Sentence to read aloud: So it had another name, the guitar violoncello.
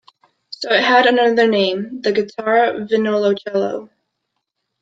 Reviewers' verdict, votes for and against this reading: rejected, 0, 2